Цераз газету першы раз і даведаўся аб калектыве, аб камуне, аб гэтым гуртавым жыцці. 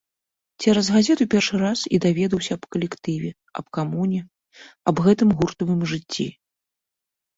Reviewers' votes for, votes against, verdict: 2, 0, accepted